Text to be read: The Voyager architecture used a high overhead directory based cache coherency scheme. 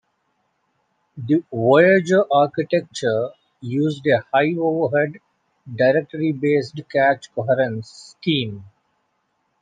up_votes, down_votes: 0, 2